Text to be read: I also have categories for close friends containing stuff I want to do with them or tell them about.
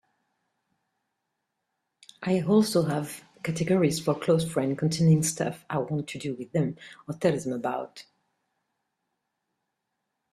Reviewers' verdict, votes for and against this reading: rejected, 1, 2